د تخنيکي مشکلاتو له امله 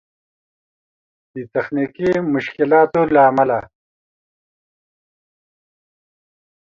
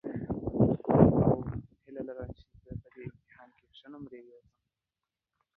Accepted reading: first